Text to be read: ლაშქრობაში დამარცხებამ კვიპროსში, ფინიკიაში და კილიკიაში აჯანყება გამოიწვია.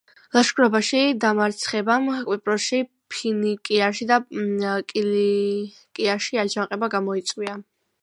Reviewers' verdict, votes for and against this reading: rejected, 1, 2